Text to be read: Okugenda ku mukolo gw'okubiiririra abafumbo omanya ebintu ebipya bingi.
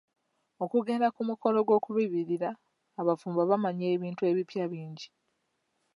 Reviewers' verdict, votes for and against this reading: accepted, 2, 0